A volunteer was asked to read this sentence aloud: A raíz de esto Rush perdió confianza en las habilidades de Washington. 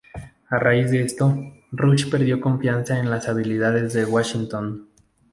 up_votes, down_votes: 2, 2